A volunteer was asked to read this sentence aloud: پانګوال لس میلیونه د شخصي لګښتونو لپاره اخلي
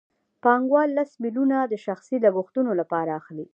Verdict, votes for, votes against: accepted, 2, 0